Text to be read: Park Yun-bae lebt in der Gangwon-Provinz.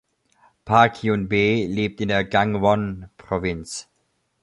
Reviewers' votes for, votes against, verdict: 2, 0, accepted